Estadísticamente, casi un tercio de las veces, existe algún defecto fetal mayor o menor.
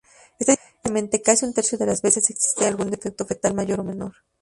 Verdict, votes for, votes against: rejected, 2, 2